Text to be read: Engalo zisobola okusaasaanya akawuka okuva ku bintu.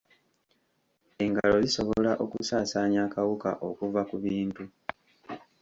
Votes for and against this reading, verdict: 3, 2, accepted